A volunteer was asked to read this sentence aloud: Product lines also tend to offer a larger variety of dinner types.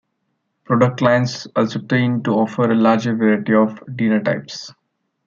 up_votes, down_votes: 1, 2